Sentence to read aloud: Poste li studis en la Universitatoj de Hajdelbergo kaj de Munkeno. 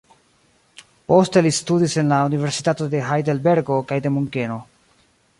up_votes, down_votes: 1, 2